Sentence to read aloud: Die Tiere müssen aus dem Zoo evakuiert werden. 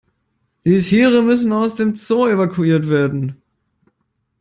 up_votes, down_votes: 2, 0